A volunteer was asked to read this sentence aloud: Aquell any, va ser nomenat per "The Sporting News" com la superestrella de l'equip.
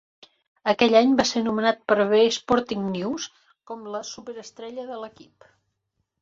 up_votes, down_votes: 1, 2